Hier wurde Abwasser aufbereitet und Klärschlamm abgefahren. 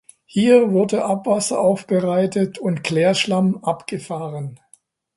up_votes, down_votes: 2, 0